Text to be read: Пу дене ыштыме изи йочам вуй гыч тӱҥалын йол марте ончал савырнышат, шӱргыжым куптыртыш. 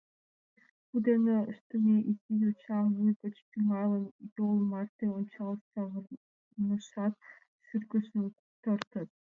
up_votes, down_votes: 0, 2